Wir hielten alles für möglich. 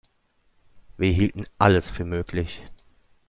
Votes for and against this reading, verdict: 2, 0, accepted